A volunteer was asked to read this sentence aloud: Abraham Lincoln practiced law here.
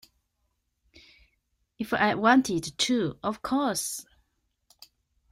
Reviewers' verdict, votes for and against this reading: rejected, 0, 3